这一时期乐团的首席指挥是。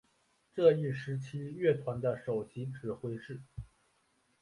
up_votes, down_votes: 4, 3